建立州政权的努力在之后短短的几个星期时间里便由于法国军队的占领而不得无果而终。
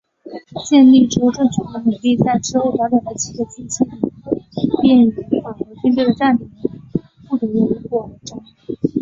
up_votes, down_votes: 0, 5